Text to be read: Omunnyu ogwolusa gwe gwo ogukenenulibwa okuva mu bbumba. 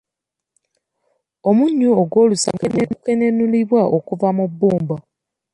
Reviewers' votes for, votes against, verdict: 0, 2, rejected